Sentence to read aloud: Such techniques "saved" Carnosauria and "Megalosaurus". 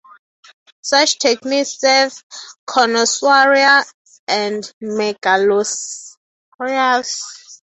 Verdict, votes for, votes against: rejected, 0, 3